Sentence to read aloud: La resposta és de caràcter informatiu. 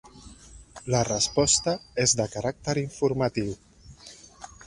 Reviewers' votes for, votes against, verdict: 2, 0, accepted